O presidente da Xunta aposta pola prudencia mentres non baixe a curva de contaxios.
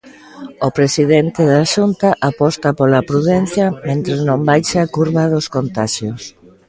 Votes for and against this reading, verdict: 0, 2, rejected